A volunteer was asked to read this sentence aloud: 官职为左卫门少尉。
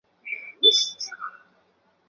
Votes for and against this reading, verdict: 0, 2, rejected